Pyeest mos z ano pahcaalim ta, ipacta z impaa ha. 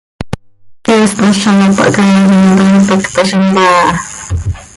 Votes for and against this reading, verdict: 1, 2, rejected